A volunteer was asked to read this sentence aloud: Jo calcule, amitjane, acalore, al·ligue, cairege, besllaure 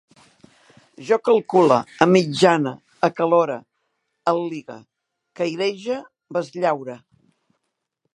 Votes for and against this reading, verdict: 2, 0, accepted